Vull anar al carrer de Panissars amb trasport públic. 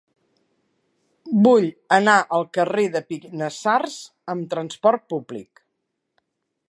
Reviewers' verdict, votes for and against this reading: rejected, 1, 2